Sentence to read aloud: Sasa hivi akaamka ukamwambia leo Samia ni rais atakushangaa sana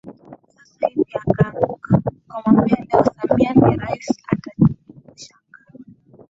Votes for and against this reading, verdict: 7, 9, rejected